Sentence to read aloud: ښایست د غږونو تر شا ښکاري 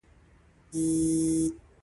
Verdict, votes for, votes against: rejected, 1, 2